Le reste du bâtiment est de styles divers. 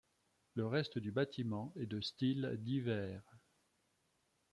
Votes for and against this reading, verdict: 2, 0, accepted